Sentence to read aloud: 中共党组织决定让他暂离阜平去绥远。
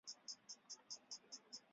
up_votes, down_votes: 1, 2